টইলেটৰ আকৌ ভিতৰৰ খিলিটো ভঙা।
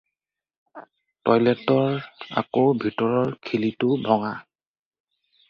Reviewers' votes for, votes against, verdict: 4, 0, accepted